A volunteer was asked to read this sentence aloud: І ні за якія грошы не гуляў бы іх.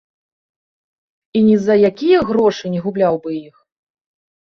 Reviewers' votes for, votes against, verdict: 0, 2, rejected